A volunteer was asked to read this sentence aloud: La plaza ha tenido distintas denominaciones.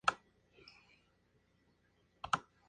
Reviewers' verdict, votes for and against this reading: rejected, 0, 2